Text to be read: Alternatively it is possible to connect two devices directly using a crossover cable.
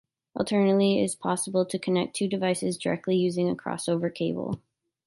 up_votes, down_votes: 2, 0